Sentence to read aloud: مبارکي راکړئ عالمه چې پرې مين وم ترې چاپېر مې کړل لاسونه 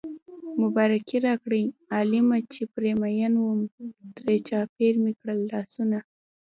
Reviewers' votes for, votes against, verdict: 0, 2, rejected